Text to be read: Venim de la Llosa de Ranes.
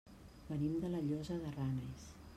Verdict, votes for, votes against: accepted, 3, 1